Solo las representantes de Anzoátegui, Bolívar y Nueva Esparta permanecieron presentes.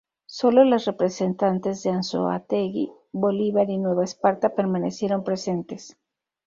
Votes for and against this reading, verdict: 0, 2, rejected